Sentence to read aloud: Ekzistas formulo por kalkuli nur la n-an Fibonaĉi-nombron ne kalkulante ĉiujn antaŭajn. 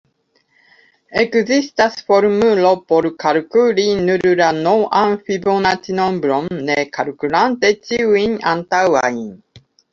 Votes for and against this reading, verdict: 0, 2, rejected